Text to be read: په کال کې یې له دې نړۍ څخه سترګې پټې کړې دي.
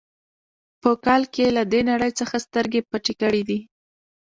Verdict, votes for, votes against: rejected, 1, 2